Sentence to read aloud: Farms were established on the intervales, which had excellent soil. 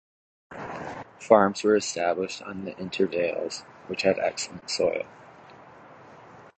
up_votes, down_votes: 2, 0